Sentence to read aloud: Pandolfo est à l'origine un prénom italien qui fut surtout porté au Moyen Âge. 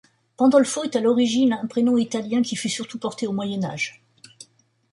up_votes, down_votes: 2, 0